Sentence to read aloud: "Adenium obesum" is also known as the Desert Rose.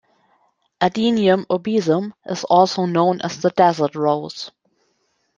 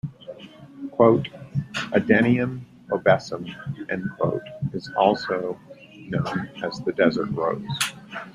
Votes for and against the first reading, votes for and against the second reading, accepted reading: 2, 1, 0, 2, first